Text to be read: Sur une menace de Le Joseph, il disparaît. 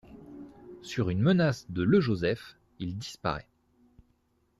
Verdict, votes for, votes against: accepted, 2, 0